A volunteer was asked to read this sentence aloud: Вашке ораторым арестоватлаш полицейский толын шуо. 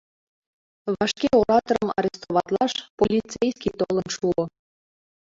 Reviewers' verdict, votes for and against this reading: rejected, 1, 2